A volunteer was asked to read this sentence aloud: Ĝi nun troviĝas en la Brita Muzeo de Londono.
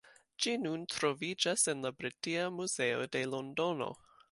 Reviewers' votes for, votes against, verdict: 1, 2, rejected